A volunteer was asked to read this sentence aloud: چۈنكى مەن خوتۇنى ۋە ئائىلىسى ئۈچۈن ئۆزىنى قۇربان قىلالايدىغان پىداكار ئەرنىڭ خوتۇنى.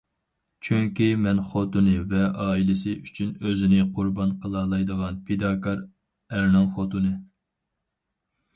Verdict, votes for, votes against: accepted, 4, 0